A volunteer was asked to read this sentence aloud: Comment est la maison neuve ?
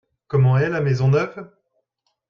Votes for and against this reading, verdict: 2, 0, accepted